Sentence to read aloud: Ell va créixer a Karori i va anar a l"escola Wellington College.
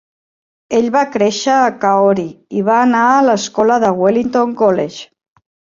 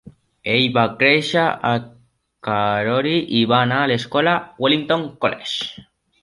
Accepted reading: second